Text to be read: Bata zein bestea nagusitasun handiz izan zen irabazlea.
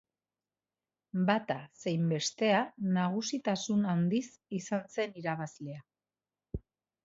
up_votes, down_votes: 2, 1